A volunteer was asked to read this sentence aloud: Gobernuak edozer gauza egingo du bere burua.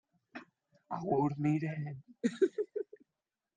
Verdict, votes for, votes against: rejected, 0, 2